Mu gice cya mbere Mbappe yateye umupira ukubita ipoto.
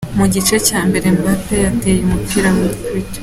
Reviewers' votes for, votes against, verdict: 0, 4, rejected